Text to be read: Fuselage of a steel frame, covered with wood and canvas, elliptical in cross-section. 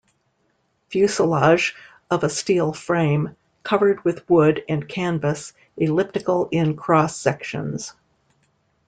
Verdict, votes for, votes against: rejected, 1, 2